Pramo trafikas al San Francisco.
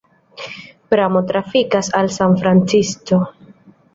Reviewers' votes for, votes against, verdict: 2, 0, accepted